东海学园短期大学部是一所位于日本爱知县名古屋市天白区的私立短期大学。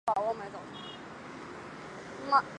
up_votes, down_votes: 0, 2